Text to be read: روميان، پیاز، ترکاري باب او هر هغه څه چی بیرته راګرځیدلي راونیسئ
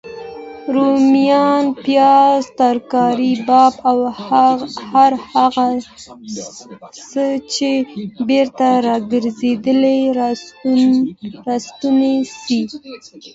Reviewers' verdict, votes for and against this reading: rejected, 0, 2